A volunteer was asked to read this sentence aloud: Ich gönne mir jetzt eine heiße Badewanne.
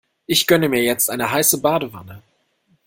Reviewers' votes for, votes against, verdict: 2, 0, accepted